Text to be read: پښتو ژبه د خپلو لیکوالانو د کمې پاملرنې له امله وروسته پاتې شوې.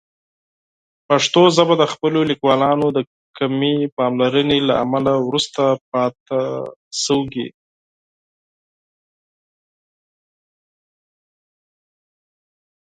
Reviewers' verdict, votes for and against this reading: rejected, 6, 8